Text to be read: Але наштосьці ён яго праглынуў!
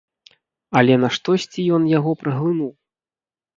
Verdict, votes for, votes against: accepted, 2, 0